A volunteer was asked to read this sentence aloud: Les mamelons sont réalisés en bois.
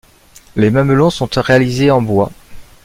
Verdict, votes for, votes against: rejected, 1, 2